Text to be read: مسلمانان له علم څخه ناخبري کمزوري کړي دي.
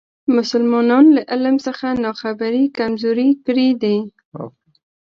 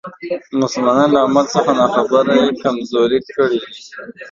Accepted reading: first